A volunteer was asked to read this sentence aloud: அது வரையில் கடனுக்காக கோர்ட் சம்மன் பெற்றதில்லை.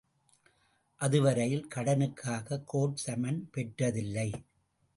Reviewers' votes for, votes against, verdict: 2, 0, accepted